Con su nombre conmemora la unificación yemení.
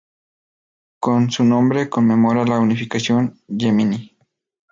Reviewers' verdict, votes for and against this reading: accepted, 4, 0